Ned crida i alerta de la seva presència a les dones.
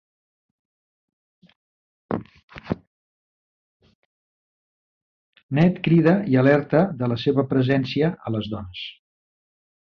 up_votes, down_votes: 1, 2